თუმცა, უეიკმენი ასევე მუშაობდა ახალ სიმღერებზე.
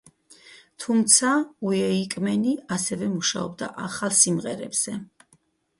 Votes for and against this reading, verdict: 2, 2, rejected